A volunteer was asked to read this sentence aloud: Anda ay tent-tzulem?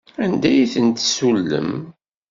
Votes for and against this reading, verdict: 1, 2, rejected